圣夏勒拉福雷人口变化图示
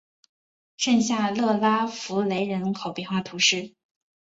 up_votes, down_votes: 5, 0